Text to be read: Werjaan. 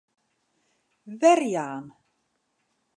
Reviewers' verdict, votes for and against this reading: accepted, 2, 0